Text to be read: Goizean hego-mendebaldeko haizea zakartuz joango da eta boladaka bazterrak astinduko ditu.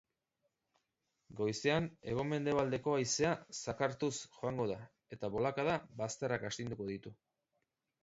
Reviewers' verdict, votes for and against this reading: rejected, 0, 2